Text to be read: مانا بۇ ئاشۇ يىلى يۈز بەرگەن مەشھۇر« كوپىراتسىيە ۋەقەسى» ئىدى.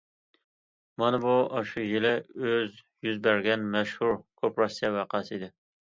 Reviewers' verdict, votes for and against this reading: rejected, 0, 2